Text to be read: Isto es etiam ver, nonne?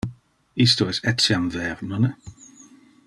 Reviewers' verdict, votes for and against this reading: accepted, 2, 0